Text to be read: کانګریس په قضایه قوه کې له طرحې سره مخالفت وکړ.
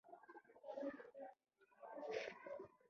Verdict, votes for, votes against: rejected, 2, 3